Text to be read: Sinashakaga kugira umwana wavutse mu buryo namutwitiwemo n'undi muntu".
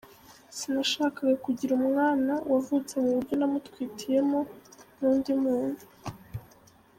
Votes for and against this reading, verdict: 0, 2, rejected